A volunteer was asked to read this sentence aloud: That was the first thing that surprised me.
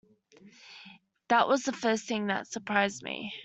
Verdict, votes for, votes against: accepted, 2, 0